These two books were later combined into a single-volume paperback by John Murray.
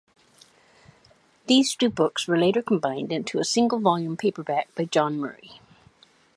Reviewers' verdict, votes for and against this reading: accepted, 2, 0